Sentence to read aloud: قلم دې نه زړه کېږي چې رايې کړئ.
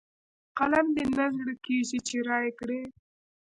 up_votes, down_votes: 0, 2